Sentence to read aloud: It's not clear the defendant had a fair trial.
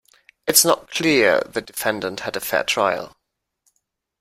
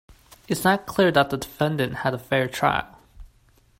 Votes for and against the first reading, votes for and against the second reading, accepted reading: 2, 0, 1, 2, first